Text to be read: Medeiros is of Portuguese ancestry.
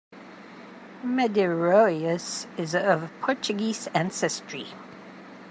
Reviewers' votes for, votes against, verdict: 1, 2, rejected